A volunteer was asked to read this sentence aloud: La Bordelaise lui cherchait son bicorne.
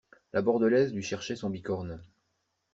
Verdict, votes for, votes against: accepted, 2, 0